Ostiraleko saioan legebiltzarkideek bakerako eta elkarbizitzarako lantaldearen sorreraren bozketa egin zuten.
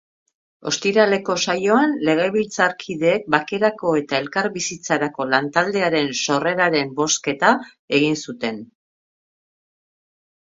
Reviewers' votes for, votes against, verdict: 2, 0, accepted